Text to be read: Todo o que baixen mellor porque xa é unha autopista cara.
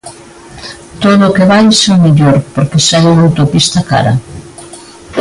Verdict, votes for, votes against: accepted, 2, 1